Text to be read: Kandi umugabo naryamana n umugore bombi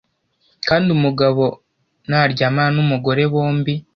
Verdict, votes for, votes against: accepted, 2, 0